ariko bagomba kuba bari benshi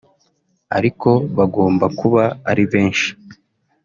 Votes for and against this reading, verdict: 0, 2, rejected